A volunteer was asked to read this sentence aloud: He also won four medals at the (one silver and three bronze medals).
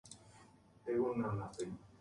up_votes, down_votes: 0, 2